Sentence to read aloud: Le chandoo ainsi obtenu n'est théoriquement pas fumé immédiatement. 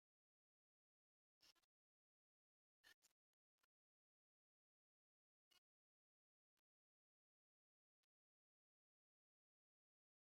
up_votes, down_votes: 0, 2